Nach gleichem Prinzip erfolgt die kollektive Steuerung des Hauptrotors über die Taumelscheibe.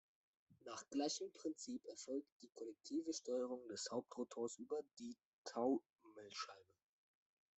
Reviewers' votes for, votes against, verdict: 2, 0, accepted